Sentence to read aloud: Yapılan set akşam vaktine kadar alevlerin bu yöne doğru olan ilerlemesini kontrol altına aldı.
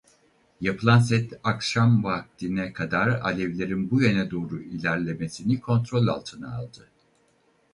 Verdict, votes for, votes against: rejected, 0, 4